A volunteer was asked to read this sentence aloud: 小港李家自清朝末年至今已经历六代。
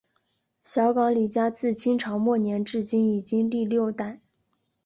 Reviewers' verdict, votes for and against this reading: accepted, 2, 0